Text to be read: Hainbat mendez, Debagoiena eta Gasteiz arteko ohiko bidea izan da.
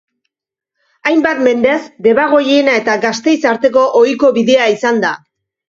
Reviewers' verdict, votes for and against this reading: accepted, 2, 0